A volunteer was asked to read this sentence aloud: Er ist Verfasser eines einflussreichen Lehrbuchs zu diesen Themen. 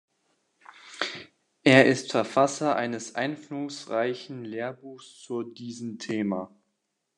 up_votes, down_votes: 0, 2